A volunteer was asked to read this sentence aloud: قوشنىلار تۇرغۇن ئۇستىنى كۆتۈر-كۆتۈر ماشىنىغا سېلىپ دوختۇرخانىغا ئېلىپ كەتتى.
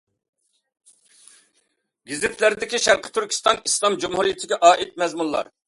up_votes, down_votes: 0, 2